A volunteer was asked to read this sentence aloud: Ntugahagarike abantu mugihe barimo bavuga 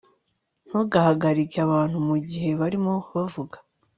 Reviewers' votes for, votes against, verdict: 2, 0, accepted